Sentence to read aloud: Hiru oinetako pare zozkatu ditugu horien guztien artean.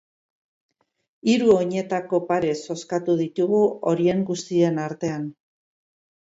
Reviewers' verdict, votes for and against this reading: accepted, 4, 0